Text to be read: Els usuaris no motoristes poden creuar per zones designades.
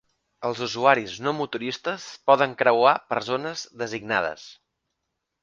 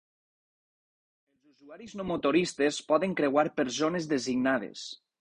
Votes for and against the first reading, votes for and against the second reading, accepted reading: 2, 0, 2, 4, first